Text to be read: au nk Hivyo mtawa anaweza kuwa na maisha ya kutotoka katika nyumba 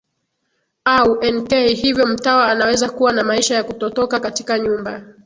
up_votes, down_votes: 1, 2